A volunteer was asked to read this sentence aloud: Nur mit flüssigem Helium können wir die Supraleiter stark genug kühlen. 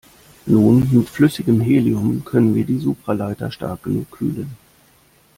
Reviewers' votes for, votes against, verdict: 1, 2, rejected